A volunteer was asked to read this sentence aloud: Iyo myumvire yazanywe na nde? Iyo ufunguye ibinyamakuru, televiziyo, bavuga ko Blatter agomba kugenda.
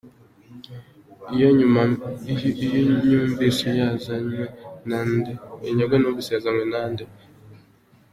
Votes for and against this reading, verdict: 0, 2, rejected